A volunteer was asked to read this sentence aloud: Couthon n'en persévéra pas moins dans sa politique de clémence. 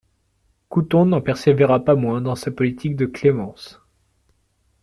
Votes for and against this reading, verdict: 2, 0, accepted